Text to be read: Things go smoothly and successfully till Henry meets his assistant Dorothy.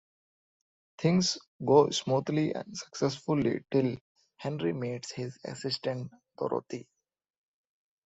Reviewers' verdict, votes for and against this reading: accepted, 2, 0